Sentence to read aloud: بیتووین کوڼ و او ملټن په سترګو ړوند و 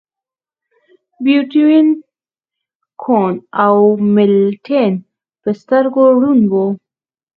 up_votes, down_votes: 2, 4